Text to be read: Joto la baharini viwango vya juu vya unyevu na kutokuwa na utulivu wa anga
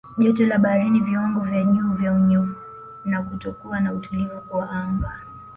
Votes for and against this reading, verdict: 0, 2, rejected